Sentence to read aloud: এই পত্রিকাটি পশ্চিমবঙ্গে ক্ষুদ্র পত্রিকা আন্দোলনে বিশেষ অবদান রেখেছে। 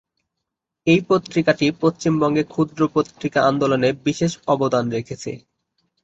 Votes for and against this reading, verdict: 1, 2, rejected